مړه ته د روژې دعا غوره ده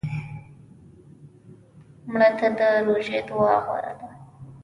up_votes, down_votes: 1, 2